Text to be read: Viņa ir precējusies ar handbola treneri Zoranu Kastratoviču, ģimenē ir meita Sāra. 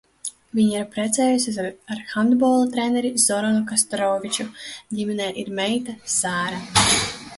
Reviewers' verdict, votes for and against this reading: rejected, 1, 2